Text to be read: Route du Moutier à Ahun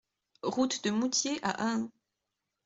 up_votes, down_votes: 2, 1